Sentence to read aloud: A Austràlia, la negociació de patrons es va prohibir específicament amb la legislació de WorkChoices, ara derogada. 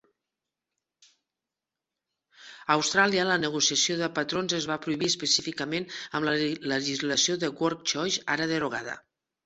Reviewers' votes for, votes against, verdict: 0, 2, rejected